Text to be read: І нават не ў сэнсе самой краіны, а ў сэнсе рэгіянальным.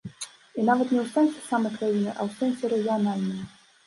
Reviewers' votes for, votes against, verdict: 1, 2, rejected